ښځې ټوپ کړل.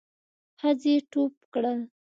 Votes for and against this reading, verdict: 3, 0, accepted